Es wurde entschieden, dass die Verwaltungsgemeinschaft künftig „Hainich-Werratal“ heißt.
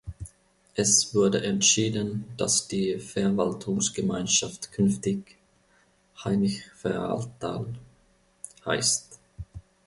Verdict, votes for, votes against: rejected, 1, 2